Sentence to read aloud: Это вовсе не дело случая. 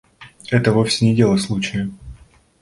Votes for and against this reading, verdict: 2, 0, accepted